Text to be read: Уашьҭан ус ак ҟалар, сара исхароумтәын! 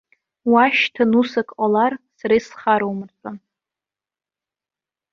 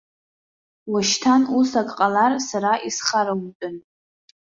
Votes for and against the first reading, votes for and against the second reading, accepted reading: 1, 2, 2, 1, second